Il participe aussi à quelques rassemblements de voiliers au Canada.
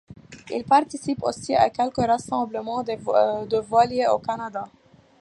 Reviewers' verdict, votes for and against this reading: accepted, 2, 1